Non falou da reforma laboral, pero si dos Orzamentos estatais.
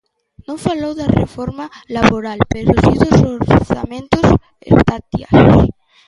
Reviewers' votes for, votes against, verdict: 0, 2, rejected